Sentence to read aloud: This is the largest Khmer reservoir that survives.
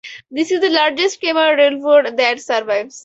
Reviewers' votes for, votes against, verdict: 0, 4, rejected